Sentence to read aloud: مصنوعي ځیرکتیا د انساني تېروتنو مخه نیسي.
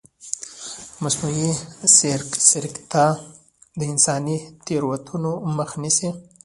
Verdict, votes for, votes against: rejected, 1, 2